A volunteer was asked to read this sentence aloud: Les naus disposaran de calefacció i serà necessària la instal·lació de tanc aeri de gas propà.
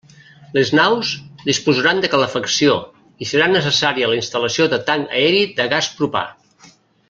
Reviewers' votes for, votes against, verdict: 2, 0, accepted